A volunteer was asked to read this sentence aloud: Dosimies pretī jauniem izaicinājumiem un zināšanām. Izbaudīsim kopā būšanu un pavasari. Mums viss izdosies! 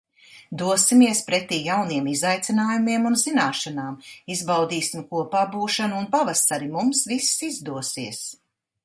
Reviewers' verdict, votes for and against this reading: accepted, 2, 0